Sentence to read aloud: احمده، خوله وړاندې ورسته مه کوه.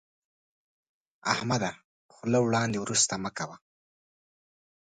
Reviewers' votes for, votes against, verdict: 2, 0, accepted